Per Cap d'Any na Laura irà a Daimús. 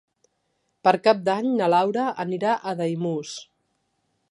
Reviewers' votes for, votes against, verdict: 1, 2, rejected